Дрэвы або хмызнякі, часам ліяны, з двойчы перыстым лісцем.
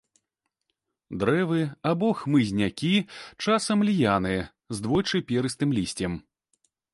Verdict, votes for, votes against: accepted, 2, 0